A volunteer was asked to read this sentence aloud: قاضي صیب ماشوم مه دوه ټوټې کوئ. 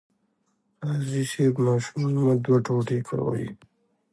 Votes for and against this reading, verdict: 2, 0, accepted